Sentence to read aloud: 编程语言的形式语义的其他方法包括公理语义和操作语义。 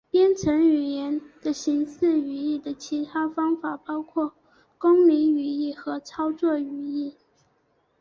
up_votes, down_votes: 2, 0